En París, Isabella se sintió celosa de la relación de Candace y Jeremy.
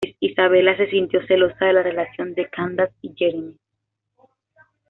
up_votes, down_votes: 1, 2